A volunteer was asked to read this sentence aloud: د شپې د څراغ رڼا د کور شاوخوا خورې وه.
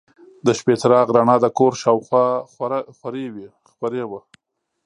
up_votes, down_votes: 1, 2